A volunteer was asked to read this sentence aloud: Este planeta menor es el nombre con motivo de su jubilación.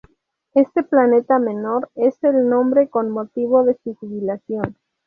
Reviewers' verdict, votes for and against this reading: rejected, 0, 2